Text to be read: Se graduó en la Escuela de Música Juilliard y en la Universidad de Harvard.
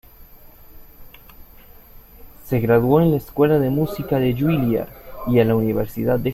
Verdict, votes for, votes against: rejected, 0, 2